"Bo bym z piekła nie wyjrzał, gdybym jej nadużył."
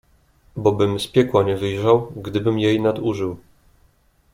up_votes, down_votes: 2, 0